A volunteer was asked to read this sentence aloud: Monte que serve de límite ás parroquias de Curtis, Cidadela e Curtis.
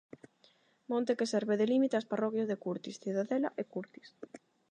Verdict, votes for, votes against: accepted, 8, 0